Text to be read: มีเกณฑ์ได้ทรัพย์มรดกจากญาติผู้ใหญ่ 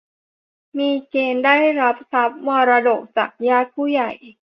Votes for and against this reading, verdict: 0, 2, rejected